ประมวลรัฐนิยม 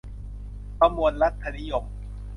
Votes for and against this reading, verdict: 2, 0, accepted